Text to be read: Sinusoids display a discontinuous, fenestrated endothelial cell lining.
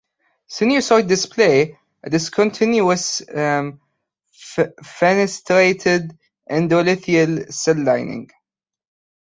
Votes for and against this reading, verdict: 0, 2, rejected